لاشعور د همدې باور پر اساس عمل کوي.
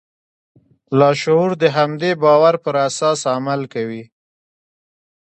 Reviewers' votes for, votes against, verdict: 2, 0, accepted